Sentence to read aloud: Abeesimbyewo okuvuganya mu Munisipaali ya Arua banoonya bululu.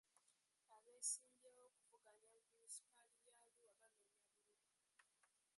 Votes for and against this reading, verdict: 0, 2, rejected